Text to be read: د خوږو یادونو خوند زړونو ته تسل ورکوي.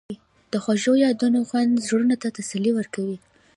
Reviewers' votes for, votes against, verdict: 0, 2, rejected